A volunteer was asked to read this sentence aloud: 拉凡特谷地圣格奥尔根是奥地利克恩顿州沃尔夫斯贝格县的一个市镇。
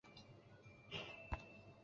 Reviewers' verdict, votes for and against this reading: rejected, 0, 2